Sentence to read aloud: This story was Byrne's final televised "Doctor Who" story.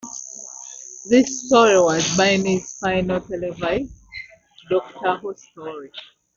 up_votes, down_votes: 2, 4